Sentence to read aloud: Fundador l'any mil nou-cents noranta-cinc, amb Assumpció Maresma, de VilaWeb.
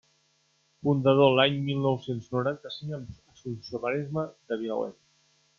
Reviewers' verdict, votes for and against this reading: rejected, 0, 2